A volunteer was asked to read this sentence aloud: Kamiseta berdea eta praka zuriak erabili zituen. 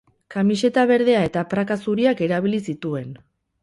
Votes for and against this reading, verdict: 0, 2, rejected